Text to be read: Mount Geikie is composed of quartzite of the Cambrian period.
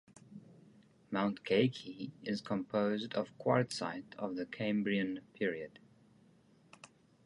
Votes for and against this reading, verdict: 2, 0, accepted